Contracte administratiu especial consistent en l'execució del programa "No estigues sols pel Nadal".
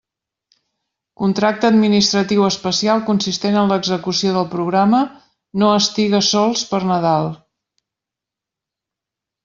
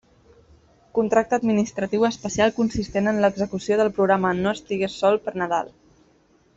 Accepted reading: first